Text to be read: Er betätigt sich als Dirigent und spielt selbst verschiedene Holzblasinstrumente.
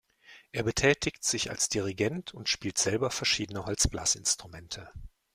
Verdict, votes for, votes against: rejected, 0, 2